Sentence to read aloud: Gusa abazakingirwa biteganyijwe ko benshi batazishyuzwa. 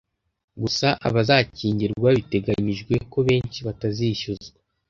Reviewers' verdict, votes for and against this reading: accepted, 2, 0